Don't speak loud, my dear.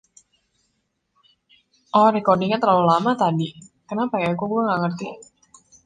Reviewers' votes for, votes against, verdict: 0, 2, rejected